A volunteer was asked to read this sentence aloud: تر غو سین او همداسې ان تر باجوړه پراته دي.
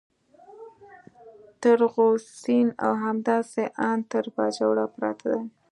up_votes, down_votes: 0, 2